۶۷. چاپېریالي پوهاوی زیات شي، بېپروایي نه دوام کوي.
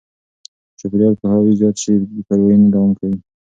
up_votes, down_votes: 0, 2